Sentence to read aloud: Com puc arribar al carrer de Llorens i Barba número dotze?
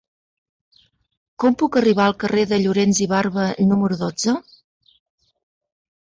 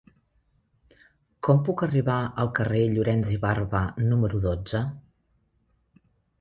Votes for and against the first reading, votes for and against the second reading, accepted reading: 2, 0, 0, 2, first